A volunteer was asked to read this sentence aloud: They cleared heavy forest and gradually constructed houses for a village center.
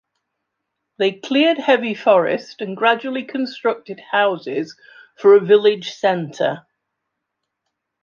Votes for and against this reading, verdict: 2, 0, accepted